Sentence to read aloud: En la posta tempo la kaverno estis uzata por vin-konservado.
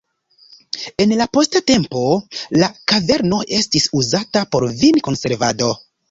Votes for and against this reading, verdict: 2, 0, accepted